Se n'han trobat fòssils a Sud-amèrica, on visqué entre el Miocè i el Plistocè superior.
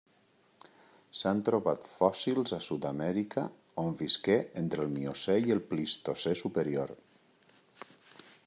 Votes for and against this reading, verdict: 1, 2, rejected